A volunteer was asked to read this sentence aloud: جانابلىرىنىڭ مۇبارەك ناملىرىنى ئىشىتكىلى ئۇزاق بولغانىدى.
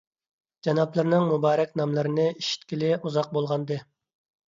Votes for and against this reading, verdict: 2, 0, accepted